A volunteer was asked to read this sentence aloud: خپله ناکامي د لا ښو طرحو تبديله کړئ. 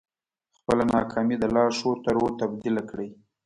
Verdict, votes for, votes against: accepted, 2, 0